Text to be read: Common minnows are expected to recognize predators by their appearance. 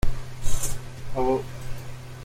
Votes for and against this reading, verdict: 0, 2, rejected